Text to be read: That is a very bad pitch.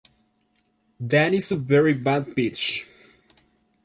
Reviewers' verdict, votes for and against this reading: accepted, 2, 0